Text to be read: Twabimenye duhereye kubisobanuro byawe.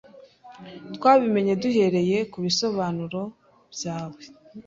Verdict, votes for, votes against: accepted, 2, 0